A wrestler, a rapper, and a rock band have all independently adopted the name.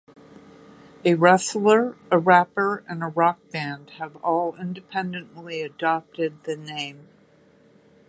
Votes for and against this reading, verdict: 2, 0, accepted